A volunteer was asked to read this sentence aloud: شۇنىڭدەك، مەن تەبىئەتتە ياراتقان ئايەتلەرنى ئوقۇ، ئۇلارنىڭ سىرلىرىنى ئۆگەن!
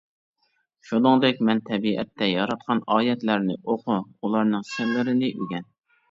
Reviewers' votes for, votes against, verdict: 2, 1, accepted